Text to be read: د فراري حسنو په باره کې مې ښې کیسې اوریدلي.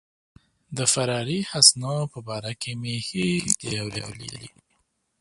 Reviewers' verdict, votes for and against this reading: rejected, 1, 2